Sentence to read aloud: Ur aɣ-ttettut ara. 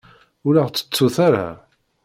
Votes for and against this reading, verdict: 2, 0, accepted